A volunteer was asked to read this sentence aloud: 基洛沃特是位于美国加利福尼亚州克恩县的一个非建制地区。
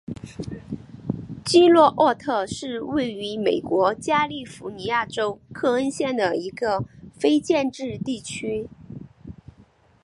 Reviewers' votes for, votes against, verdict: 3, 0, accepted